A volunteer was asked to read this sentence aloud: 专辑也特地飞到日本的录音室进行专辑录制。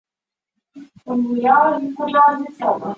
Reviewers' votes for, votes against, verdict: 1, 6, rejected